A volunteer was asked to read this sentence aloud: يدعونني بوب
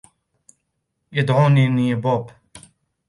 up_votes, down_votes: 1, 2